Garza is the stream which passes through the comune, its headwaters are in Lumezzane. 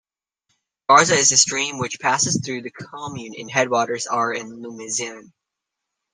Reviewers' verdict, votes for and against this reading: rejected, 1, 2